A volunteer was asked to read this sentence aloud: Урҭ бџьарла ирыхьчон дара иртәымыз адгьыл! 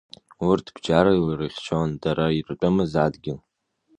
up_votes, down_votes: 2, 0